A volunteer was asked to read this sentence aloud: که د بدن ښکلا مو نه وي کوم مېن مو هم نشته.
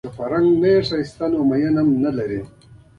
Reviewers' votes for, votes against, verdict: 1, 2, rejected